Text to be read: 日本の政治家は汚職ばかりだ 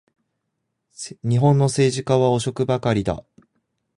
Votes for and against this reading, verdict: 2, 0, accepted